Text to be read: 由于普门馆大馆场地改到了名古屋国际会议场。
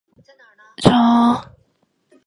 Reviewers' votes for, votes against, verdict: 0, 4, rejected